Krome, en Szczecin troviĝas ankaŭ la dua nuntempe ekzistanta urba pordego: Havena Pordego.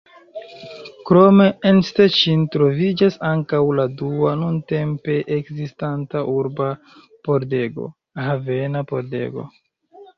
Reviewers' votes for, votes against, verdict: 2, 0, accepted